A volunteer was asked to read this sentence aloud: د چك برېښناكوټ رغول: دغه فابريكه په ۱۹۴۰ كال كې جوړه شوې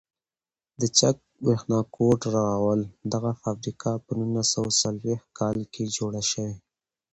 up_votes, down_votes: 0, 2